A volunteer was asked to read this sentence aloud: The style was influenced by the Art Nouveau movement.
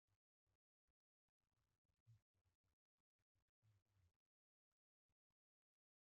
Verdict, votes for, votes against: rejected, 0, 2